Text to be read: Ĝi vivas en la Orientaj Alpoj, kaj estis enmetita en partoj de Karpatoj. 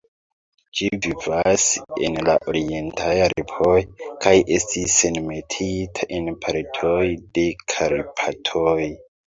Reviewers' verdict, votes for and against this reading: rejected, 1, 2